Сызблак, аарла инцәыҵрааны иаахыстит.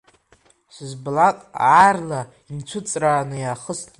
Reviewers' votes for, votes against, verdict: 1, 2, rejected